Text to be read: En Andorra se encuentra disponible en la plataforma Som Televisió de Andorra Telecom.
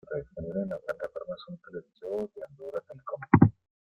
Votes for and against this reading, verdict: 0, 2, rejected